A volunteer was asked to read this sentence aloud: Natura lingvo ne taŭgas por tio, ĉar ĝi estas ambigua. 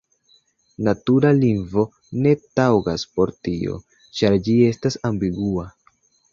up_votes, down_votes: 2, 0